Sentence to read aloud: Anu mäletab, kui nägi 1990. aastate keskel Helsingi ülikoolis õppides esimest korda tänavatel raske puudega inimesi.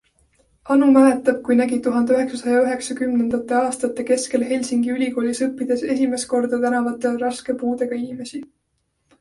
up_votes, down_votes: 0, 2